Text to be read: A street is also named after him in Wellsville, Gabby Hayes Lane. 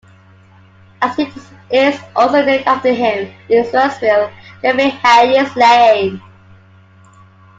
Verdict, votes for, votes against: rejected, 0, 2